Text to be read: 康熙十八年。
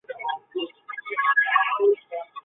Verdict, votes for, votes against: rejected, 0, 3